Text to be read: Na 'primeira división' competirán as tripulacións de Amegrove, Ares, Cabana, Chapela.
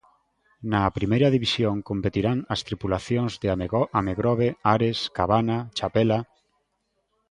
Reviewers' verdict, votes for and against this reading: rejected, 0, 2